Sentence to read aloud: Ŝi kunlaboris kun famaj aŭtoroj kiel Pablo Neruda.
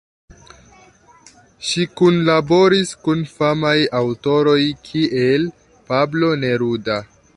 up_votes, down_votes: 2, 1